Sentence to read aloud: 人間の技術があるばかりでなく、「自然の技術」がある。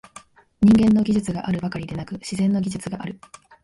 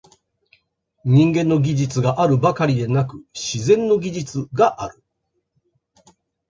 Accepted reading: first